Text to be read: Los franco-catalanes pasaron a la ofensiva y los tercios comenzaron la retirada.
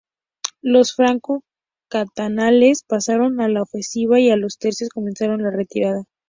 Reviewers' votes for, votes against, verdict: 0, 2, rejected